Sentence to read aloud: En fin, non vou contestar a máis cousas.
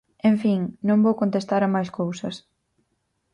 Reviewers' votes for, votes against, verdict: 4, 0, accepted